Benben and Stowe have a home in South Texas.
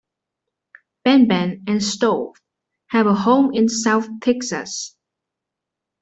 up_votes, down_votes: 1, 2